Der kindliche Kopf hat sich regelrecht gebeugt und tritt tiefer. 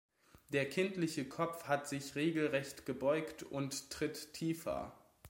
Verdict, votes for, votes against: accepted, 2, 0